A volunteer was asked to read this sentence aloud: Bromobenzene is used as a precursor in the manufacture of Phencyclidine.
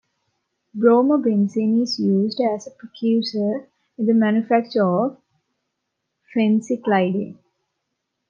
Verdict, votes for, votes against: rejected, 1, 2